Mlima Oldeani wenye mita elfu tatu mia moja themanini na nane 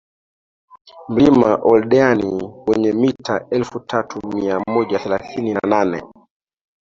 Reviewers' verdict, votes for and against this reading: rejected, 1, 2